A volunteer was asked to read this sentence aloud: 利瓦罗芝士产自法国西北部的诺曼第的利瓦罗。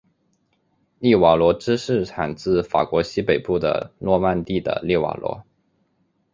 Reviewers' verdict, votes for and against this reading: accepted, 5, 0